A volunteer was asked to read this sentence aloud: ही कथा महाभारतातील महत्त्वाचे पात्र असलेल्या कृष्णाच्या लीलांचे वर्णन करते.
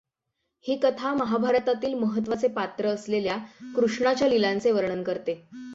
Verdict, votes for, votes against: accepted, 6, 3